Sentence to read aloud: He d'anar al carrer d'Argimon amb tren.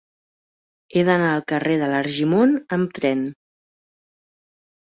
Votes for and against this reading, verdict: 0, 2, rejected